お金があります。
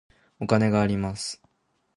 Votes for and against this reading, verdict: 2, 0, accepted